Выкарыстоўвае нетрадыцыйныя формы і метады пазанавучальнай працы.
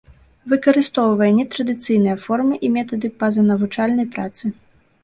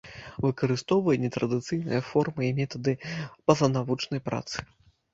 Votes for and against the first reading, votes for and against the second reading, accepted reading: 2, 0, 0, 2, first